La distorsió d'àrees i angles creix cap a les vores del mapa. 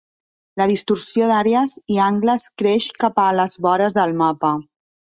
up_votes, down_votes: 3, 0